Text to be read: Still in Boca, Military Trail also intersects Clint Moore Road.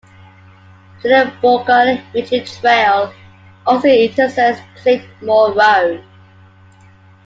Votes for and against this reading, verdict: 0, 2, rejected